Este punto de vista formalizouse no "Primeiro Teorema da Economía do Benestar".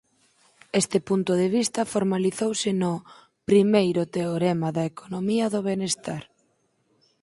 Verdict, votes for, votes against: accepted, 4, 0